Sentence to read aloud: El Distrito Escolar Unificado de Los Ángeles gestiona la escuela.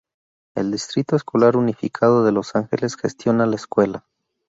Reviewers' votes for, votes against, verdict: 4, 0, accepted